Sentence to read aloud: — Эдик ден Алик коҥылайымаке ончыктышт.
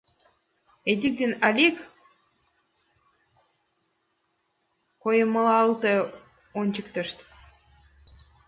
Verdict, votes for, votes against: rejected, 0, 2